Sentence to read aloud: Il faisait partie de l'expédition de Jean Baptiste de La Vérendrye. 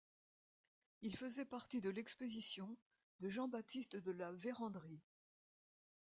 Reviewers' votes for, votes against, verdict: 1, 2, rejected